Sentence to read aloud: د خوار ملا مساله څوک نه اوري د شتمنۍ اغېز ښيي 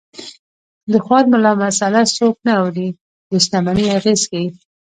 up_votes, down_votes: 1, 2